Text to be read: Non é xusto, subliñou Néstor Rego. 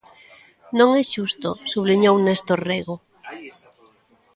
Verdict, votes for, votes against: rejected, 1, 2